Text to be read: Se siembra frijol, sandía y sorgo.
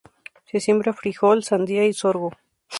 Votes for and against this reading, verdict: 2, 0, accepted